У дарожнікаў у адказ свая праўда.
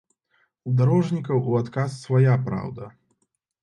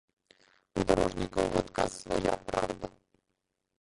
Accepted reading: first